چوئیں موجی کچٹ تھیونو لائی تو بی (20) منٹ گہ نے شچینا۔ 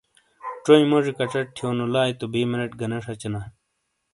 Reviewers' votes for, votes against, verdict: 0, 2, rejected